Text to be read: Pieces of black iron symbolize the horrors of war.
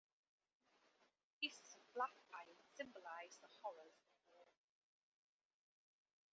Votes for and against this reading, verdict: 1, 2, rejected